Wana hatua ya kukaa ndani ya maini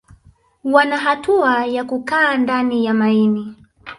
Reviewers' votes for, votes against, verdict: 6, 0, accepted